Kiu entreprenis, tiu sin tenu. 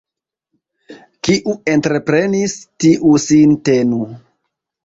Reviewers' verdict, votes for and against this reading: accepted, 2, 0